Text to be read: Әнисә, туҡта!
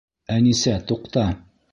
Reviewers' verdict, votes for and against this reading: accepted, 2, 0